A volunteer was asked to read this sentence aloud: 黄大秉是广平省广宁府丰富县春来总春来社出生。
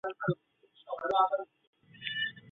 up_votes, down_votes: 0, 2